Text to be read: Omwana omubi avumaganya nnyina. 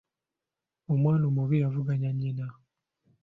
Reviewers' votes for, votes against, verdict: 0, 2, rejected